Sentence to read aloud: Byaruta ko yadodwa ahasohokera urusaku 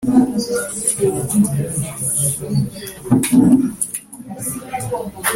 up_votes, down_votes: 0, 2